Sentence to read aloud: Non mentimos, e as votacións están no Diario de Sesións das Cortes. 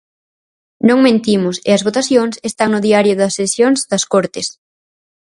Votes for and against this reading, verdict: 0, 4, rejected